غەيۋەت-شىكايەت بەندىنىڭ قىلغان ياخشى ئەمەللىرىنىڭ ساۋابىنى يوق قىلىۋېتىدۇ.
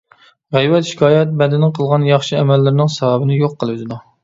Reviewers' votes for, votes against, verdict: 2, 0, accepted